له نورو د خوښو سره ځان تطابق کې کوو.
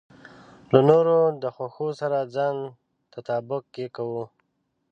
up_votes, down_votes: 1, 2